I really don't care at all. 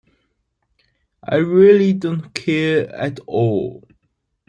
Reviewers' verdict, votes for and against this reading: accepted, 2, 1